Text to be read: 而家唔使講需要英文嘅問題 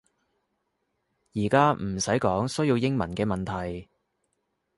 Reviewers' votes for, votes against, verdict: 2, 0, accepted